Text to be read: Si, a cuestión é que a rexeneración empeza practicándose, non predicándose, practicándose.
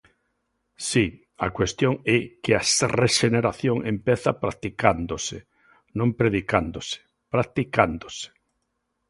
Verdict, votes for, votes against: rejected, 1, 2